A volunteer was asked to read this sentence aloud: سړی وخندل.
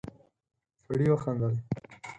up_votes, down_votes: 2, 4